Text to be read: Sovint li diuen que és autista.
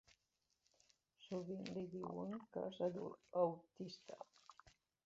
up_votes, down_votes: 2, 1